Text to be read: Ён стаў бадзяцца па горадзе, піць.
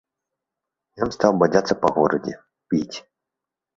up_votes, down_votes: 2, 0